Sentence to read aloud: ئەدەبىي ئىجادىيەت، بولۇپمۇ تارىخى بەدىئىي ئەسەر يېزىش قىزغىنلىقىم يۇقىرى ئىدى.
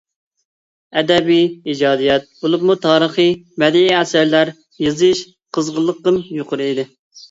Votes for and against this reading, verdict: 0, 2, rejected